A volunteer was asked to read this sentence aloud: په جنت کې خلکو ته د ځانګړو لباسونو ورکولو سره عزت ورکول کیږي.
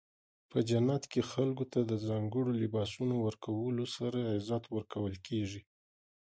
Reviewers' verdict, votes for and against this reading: rejected, 1, 2